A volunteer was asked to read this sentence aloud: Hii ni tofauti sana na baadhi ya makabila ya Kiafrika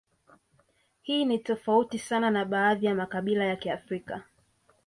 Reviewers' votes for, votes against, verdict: 2, 0, accepted